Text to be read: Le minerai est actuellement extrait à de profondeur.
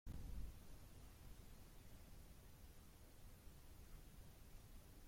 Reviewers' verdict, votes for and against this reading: rejected, 0, 2